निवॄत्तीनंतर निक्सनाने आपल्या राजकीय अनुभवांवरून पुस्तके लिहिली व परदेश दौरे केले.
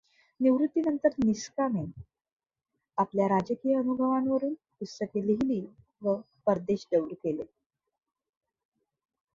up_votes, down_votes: 2, 1